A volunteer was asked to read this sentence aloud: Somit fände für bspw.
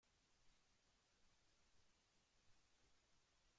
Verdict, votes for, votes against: rejected, 0, 2